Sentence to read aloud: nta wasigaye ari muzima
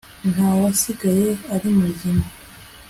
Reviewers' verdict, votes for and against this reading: accepted, 3, 0